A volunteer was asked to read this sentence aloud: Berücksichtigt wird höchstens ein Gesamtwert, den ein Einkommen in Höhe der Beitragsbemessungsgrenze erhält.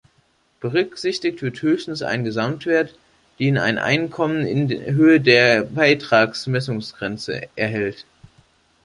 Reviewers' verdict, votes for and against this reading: rejected, 0, 2